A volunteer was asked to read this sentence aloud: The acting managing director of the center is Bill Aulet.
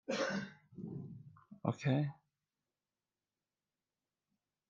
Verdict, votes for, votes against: rejected, 0, 2